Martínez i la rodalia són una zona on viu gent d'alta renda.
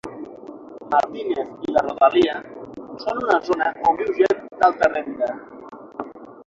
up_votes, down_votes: 6, 0